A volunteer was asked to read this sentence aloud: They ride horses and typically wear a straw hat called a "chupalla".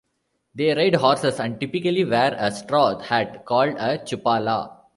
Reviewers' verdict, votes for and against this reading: rejected, 1, 2